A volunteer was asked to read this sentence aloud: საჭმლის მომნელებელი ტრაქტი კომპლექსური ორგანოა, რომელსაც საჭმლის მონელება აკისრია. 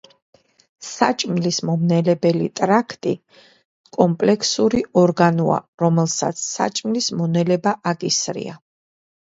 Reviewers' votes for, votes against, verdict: 1, 2, rejected